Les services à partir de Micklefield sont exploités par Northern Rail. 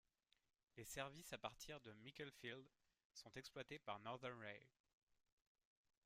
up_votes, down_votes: 1, 2